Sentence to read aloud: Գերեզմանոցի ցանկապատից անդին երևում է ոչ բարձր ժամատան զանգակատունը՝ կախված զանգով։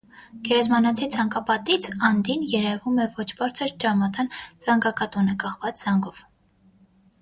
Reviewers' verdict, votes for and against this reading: rejected, 0, 6